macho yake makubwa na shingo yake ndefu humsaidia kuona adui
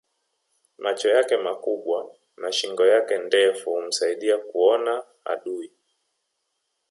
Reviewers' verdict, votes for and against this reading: rejected, 0, 2